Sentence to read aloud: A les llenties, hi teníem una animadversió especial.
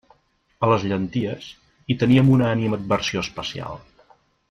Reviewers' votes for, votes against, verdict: 2, 0, accepted